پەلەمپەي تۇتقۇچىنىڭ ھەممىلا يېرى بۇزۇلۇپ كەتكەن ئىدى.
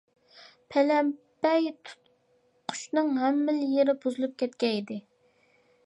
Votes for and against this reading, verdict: 0, 2, rejected